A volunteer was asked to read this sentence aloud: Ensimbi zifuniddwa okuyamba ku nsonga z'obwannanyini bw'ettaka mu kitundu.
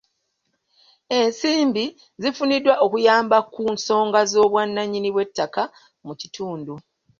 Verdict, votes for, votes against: accepted, 2, 0